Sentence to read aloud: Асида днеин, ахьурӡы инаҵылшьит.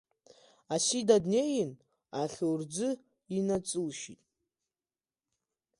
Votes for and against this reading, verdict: 0, 2, rejected